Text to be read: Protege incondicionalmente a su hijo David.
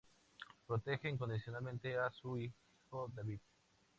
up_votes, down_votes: 0, 2